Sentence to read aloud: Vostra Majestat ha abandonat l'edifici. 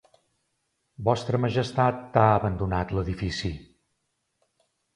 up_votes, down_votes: 2, 0